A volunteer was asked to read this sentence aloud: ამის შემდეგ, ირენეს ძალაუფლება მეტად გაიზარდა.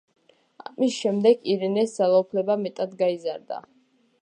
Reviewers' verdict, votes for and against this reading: accepted, 2, 0